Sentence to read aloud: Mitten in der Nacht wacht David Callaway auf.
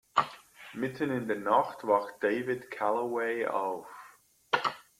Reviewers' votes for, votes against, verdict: 2, 0, accepted